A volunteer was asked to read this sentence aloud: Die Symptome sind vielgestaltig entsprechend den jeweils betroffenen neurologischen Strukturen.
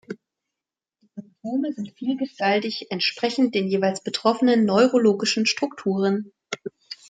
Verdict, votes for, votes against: rejected, 0, 2